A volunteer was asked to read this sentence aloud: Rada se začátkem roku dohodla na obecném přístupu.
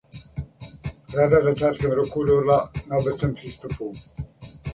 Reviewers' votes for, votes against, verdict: 0, 2, rejected